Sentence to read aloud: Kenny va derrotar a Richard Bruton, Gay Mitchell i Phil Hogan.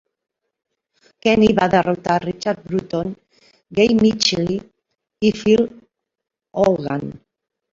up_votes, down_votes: 1, 2